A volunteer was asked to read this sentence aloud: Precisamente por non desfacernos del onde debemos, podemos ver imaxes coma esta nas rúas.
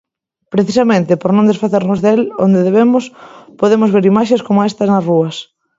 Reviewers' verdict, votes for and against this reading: accepted, 2, 1